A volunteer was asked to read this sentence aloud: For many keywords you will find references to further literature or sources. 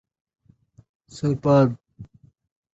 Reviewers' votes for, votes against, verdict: 0, 2, rejected